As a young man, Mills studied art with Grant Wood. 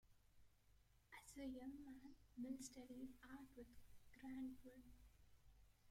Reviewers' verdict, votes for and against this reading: rejected, 0, 2